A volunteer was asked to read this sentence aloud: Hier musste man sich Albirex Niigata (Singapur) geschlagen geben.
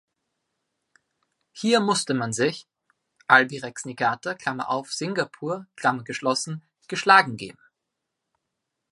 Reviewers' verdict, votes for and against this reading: rejected, 0, 2